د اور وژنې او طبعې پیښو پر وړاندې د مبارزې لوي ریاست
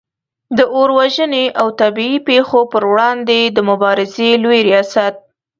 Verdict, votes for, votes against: accepted, 2, 0